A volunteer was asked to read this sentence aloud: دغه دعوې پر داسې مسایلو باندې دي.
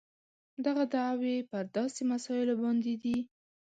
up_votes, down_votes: 2, 0